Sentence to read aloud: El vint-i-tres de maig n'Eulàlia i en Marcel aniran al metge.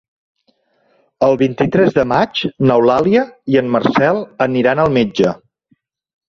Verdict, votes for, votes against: accepted, 4, 0